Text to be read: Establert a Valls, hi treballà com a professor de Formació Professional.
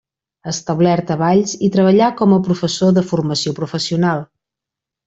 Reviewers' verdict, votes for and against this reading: accepted, 2, 0